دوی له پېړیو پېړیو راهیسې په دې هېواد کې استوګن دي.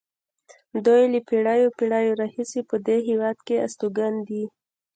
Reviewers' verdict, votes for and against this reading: accepted, 2, 0